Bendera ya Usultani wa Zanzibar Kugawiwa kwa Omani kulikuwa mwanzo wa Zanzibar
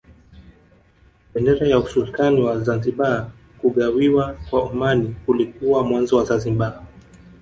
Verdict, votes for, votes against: rejected, 1, 2